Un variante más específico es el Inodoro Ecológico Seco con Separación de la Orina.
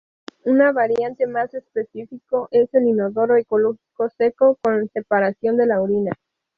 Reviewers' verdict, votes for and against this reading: rejected, 0, 2